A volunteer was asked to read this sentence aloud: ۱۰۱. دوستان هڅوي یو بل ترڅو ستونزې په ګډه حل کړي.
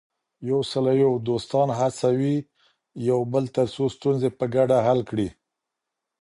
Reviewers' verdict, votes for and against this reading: rejected, 0, 2